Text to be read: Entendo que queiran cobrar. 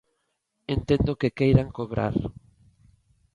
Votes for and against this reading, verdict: 2, 0, accepted